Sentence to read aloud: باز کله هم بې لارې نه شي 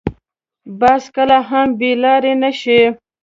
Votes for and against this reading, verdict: 2, 0, accepted